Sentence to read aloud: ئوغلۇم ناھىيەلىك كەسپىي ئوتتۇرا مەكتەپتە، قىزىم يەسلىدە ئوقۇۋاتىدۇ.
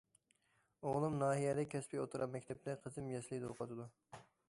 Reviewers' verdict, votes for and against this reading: rejected, 1, 2